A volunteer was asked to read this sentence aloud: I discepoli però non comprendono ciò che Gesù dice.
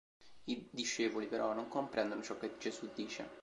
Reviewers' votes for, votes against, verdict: 2, 0, accepted